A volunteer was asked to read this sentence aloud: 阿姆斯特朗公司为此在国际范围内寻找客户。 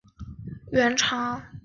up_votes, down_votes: 1, 2